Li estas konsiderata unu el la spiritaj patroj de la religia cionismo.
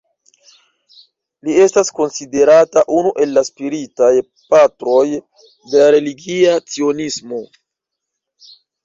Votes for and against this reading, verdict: 2, 1, accepted